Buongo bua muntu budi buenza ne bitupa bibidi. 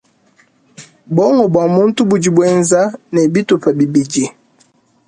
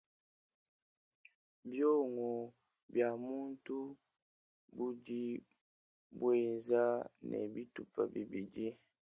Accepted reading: first